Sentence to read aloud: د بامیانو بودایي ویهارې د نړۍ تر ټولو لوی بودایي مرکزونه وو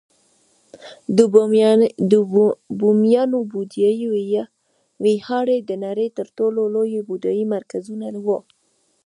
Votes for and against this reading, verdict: 1, 2, rejected